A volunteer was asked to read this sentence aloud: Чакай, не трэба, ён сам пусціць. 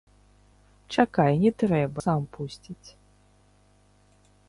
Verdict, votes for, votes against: rejected, 0, 3